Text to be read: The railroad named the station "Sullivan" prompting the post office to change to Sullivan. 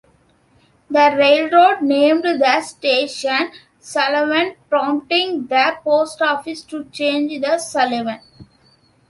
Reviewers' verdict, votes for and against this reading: accepted, 2, 0